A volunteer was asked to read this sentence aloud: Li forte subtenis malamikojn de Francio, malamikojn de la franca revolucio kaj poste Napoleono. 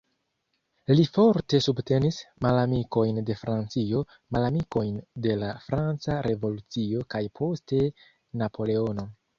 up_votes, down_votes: 0, 2